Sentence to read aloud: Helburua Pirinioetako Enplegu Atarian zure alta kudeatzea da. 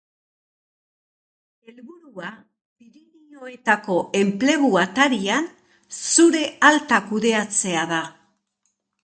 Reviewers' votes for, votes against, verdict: 0, 2, rejected